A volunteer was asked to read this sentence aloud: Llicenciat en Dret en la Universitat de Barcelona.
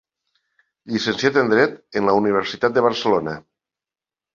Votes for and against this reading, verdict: 3, 0, accepted